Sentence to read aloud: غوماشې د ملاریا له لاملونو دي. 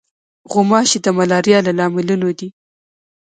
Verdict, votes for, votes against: accepted, 2, 0